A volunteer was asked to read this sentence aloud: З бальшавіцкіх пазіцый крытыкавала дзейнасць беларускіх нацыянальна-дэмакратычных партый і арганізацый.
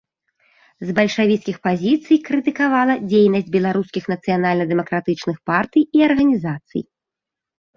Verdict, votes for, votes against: accepted, 3, 0